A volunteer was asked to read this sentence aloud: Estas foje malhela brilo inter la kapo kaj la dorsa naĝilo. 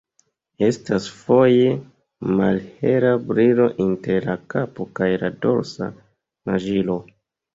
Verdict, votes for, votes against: rejected, 1, 2